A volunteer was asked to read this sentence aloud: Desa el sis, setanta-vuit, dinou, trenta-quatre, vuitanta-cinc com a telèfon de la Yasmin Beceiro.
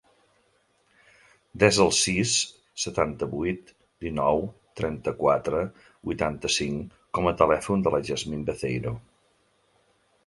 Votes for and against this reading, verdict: 2, 0, accepted